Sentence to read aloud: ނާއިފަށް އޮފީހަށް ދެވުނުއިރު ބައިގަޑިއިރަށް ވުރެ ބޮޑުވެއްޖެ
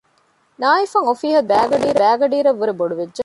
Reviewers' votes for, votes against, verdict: 0, 2, rejected